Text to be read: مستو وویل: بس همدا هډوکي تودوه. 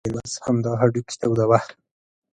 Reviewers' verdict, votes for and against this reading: rejected, 0, 2